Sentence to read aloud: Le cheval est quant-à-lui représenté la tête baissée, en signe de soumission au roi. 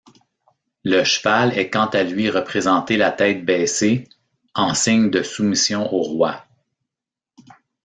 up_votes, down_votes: 2, 0